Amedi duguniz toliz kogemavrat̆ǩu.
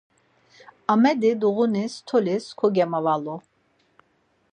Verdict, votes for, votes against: rejected, 2, 4